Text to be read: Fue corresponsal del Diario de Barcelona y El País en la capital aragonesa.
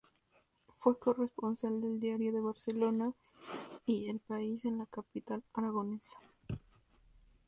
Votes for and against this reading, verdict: 2, 2, rejected